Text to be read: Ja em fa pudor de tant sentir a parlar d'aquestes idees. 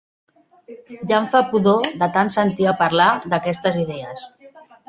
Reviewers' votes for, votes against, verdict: 0, 2, rejected